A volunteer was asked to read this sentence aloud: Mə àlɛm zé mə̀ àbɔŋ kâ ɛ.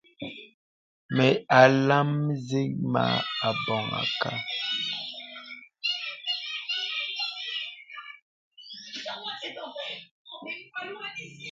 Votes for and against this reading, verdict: 1, 2, rejected